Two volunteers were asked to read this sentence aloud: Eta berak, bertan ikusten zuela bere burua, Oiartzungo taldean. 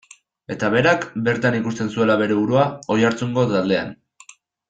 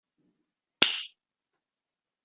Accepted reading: first